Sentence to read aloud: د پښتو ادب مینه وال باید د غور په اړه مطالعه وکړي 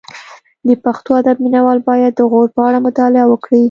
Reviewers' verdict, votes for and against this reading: accepted, 2, 0